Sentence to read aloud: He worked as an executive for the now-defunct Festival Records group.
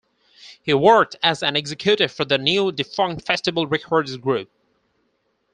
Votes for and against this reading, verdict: 2, 4, rejected